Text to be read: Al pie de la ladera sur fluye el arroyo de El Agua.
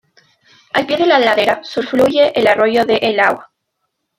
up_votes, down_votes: 0, 2